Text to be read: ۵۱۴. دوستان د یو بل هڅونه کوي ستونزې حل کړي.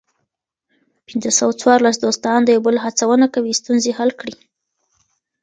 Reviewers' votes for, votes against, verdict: 0, 2, rejected